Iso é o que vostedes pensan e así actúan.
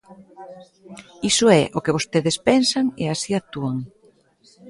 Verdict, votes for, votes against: accepted, 2, 0